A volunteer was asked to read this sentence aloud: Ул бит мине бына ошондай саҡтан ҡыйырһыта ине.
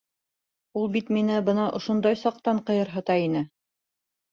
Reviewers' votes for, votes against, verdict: 2, 0, accepted